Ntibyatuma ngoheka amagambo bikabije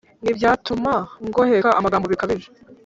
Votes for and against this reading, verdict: 1, 2, rejected